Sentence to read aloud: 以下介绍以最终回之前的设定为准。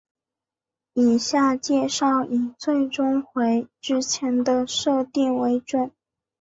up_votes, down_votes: 4, 0